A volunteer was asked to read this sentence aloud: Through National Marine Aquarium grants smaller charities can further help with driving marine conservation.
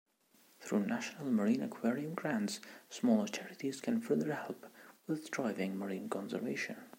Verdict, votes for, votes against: accepted, 2, 0